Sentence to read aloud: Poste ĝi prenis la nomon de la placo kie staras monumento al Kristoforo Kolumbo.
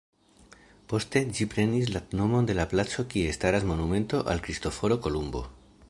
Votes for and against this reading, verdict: 1, 2, rejected